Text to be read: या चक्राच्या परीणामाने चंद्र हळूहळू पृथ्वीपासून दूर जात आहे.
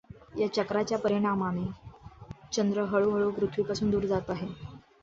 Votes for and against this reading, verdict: 2, 0, accepted